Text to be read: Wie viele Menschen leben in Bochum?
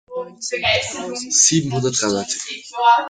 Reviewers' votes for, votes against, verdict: 0, 2, rejected